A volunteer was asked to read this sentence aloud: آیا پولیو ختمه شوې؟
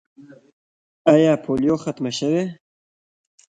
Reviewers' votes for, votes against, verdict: 1, 2, rejected